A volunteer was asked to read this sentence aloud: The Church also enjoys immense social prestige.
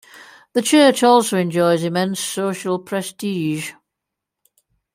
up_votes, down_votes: 2, 0